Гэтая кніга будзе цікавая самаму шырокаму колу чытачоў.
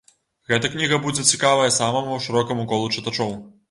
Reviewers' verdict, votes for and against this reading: rejected, 1, 2